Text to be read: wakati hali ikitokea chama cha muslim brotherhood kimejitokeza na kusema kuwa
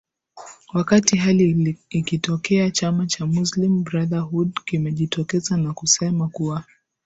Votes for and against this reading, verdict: 2, 1, accepted